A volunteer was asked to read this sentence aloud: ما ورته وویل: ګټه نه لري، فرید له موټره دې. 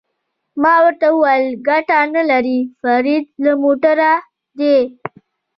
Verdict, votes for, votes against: accepted, 2, 0